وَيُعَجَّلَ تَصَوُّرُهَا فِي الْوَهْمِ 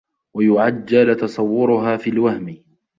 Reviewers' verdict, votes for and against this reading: rejected, 0, 2